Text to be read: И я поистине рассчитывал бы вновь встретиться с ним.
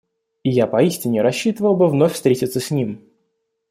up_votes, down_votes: 4, 0